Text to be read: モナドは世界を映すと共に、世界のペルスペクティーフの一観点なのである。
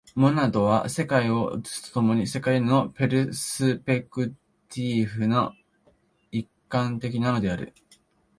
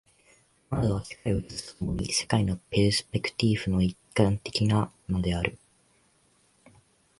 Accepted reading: second